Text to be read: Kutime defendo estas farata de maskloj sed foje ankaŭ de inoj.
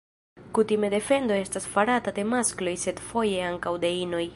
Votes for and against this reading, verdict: 1, 2, rejected